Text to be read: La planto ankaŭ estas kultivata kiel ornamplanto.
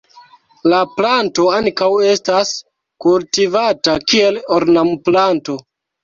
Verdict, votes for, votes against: rejected, 0, 2